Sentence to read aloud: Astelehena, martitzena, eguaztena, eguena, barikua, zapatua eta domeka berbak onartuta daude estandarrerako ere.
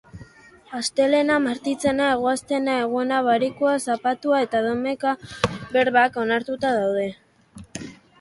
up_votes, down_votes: 0, 4